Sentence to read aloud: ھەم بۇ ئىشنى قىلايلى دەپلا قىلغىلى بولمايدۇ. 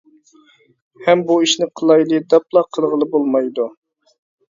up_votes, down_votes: 2, 0